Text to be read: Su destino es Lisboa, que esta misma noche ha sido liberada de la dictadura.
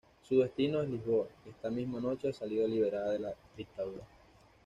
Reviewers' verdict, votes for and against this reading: rejected, 1, 2